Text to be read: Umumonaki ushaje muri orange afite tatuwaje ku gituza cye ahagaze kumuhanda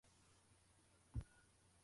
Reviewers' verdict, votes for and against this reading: rejected, 0, 2